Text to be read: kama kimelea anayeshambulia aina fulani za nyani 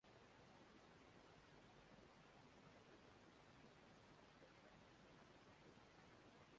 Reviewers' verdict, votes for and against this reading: rejected, 0, 2